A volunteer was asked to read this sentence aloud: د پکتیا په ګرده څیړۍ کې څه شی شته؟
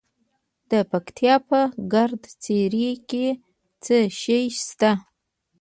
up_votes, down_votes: 2, 0